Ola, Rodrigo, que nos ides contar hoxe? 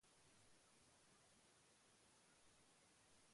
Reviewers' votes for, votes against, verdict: 0, 2, rejected